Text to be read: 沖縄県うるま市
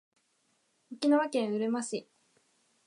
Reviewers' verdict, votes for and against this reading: rejected, 1, 2